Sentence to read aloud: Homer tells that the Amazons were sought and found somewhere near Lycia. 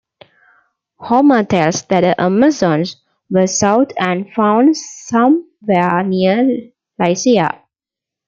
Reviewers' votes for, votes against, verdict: 0, 2, rejected